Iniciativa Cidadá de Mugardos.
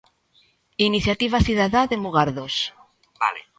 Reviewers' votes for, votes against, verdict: 2, 1, accepted